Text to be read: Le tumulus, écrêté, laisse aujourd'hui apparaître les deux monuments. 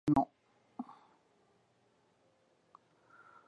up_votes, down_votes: 0, 2